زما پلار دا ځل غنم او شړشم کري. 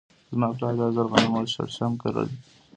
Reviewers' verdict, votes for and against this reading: accepted, 2, 1